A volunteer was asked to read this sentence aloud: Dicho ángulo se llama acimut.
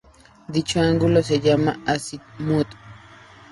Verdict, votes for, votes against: rejected, 0, 2